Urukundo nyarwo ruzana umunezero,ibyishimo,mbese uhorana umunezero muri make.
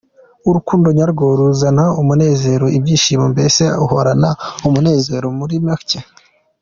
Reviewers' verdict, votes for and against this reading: accepted, 2, 0